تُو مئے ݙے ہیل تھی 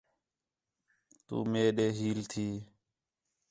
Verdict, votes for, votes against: accepted, 4, 0